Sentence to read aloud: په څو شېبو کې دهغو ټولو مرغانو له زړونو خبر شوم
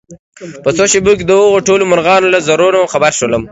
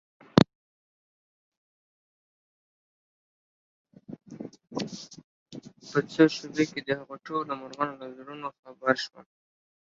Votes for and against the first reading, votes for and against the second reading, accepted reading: 2, 1, 1, 2, first